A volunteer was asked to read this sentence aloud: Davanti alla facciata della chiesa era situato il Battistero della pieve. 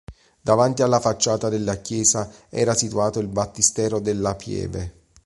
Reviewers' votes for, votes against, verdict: 2, 0, accepted